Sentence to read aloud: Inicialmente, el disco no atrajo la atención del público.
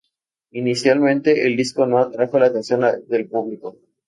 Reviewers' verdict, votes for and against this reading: rejected, 2, 2